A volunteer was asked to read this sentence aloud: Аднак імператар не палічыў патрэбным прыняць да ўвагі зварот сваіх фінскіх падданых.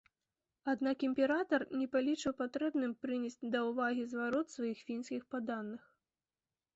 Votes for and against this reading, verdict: 0, 2, rejected